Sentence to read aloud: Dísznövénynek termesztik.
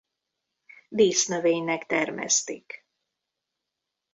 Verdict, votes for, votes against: accepted, 3, 0